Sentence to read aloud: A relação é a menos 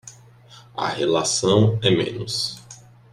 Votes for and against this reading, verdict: 0, 2, rejected